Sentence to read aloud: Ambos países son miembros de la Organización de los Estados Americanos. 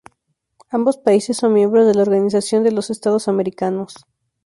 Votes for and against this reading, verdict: 2, 0, accepted